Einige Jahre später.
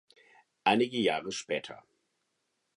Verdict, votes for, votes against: accepted, 2, 0